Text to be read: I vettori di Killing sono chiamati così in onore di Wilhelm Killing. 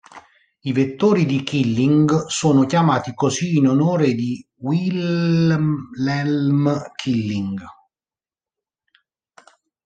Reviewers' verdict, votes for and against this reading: rejected, 0, 2